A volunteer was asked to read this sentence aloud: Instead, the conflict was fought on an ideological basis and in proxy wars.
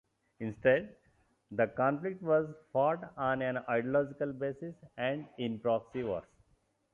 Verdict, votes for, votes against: rejected, 0, 2